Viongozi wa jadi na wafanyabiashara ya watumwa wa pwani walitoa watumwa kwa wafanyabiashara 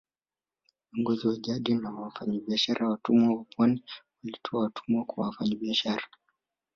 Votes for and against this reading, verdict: 2, 1, accepted